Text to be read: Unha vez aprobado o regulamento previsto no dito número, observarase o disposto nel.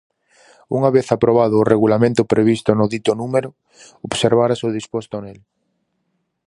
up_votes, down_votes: 2, 2